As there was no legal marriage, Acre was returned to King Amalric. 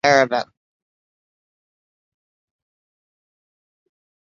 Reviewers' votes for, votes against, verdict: 0, 2, rejected